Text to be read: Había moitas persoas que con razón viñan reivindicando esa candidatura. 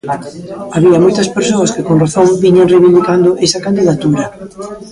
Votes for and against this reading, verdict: 1, 2, rejected